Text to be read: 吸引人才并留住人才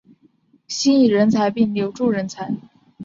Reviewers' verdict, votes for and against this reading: accepted, 3, 0